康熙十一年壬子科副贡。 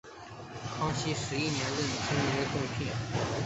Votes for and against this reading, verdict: 0, 2, rejected